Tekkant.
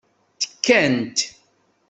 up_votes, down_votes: 2, 0